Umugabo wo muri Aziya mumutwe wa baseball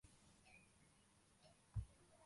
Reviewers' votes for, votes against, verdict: 0, 2, rejected